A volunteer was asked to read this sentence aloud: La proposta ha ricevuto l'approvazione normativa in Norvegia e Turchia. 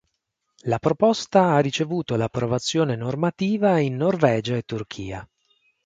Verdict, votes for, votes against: accepted, 4, 0